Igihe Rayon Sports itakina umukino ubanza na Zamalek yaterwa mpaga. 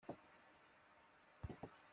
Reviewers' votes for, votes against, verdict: 0, 2, rejected